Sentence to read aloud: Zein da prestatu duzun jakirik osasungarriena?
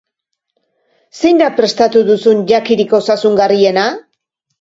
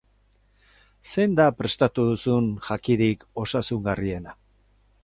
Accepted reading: first